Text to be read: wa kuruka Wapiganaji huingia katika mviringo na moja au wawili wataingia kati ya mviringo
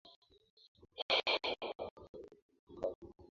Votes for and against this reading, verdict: 0, 4, rejected